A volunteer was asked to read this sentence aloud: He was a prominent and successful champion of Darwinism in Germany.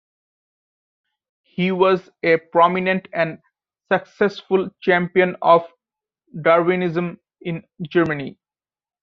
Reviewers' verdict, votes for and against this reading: accepted, 2, 0